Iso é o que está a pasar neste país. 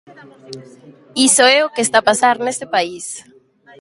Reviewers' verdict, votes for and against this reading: rejected, 1, 2